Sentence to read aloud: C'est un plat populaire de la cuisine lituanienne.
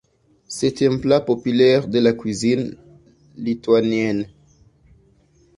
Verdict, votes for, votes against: accepted, 2, 1